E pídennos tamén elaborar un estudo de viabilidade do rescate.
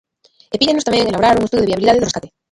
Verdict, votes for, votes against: rejected, 0, 2